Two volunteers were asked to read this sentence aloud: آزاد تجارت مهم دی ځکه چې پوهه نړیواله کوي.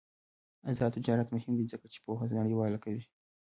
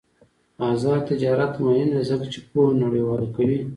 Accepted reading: second